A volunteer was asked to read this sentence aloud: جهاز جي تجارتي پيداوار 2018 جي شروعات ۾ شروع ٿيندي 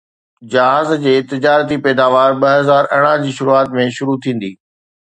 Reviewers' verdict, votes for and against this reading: rejected, 0, 2